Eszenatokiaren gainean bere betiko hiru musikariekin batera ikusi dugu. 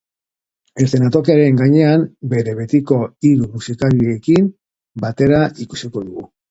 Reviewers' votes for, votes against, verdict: 0, 2, rejected